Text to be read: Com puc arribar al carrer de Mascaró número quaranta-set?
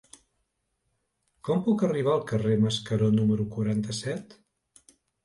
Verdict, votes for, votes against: rejected, 0, 2